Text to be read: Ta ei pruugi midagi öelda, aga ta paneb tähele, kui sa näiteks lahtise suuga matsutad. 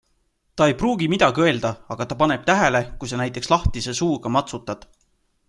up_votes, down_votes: 2, 0